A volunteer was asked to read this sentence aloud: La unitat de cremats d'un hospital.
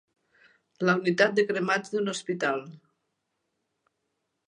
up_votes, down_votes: 5, 0